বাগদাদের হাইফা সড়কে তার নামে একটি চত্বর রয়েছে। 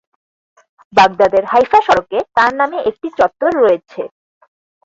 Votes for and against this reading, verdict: 4, 0, accepted